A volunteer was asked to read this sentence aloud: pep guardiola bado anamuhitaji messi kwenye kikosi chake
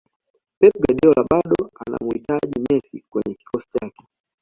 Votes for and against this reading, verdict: 2, 0, accepted